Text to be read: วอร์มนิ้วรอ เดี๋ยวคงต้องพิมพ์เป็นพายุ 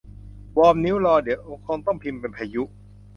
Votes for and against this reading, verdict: 0, 2, rejected